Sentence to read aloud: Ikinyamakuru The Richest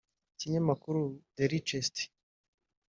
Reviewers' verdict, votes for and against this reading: accepted, 2, 0